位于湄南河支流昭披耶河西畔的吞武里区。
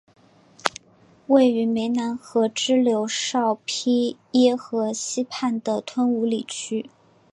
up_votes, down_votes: 2, 1